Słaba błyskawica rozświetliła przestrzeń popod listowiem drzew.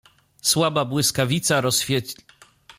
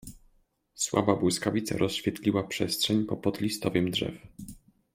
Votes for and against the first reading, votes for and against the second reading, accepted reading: 0, 2, 2, 0, second